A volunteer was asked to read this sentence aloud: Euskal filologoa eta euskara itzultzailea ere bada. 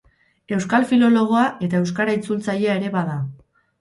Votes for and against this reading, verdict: 4, 0, accepted